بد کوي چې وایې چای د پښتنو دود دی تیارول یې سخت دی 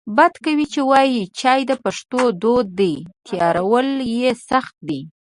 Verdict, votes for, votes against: accepted, 2, 1